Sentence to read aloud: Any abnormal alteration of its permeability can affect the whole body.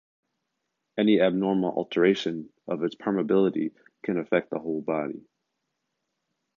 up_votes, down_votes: 2, 1